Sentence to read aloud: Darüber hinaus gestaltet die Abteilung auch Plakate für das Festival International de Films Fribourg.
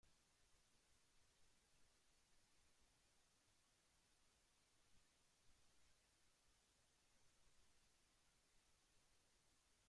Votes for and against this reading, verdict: 0, 2, rejected